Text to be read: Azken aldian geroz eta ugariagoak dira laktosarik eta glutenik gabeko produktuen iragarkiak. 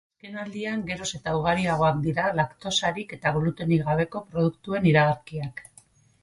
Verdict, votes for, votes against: rejected, 2, 4